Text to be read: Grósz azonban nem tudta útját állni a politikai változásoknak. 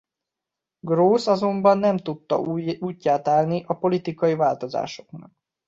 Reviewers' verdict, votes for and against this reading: rejected, 0, 2